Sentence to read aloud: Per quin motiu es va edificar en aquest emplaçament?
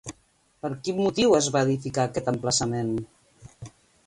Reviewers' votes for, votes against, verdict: 1, 2, rejected